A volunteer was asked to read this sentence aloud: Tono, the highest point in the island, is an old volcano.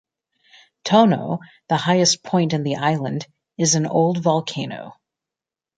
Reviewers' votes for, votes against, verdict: 2, 0, accepted